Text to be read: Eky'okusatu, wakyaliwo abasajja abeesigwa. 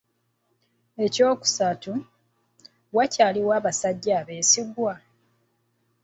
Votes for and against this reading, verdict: 1, 2, rejected